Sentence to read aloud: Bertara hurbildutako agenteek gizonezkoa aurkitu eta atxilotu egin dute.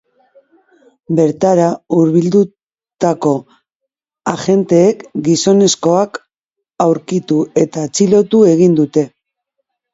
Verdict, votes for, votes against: rejected, 0, 2